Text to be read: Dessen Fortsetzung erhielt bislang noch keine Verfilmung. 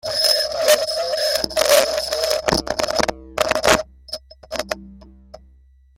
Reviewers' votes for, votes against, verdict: 0, 2, rejected